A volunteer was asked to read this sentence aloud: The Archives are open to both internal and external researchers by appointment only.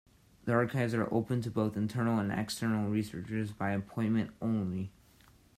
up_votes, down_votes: 2, 1